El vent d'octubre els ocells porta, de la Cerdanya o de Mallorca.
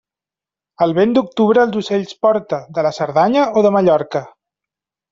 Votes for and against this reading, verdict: 2, 0, accepted